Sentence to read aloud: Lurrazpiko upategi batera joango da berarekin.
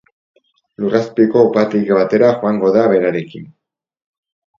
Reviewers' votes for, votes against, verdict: 4, 2, accepted